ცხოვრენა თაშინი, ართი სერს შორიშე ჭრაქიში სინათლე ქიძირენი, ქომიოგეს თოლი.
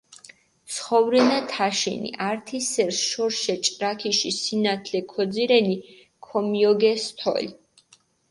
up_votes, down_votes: 4, 2